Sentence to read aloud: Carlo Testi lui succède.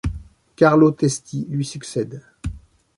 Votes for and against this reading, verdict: 2, 1, accepted